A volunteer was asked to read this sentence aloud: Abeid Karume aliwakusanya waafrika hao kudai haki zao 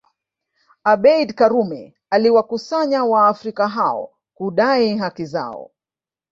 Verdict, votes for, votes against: accepted, 4, 0